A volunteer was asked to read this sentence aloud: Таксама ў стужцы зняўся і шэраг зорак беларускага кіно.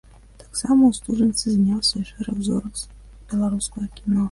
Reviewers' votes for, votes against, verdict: 1, 2, rejected